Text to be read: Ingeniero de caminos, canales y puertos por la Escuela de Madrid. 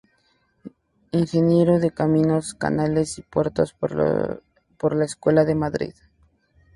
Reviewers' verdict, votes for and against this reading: accepted, 2, 0